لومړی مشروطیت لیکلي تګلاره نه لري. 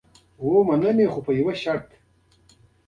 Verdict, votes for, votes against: rejected, 0, 2